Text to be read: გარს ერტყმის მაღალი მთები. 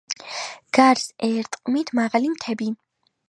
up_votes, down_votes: 2, 1